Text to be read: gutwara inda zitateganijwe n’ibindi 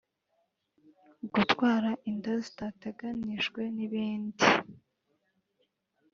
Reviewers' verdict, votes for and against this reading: accepted, 2, 0